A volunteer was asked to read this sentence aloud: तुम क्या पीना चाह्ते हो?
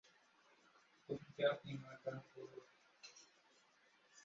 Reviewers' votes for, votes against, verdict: 0, 2, rejected